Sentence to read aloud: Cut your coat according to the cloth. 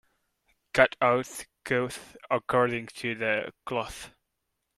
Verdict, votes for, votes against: rejected, 0, 2